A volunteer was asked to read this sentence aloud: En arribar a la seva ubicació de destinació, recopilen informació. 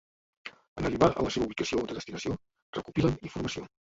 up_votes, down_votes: 0, 2